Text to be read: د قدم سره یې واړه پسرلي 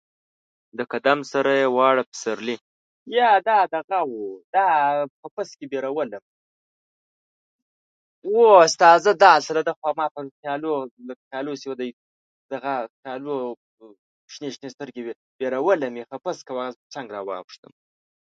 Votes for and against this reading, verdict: 0, 2, rejected